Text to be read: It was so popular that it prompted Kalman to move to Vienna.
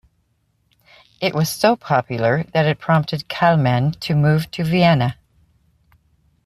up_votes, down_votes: 2, 1